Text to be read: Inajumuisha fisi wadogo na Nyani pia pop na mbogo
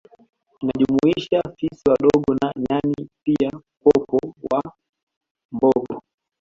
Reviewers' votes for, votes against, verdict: 1, 2, rejected